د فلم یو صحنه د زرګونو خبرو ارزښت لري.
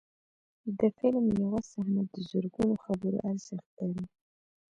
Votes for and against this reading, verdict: 1, 2, rejected